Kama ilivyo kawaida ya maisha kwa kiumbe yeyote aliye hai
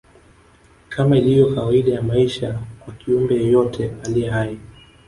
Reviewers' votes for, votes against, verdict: 1, 2, rejected